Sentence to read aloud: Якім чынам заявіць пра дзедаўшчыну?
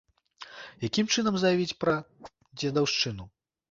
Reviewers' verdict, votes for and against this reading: accepted, 2, 0